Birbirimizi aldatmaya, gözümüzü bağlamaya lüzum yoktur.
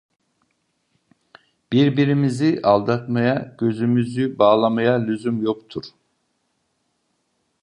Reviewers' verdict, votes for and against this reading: accepted, 2, 0